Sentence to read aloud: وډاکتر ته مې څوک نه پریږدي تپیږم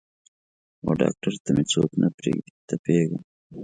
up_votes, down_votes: 3, 0